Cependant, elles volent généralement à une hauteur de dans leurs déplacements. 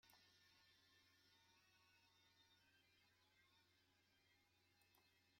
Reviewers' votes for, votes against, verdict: 0, 2, rejected